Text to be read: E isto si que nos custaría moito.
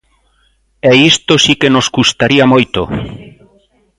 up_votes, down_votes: 2, 0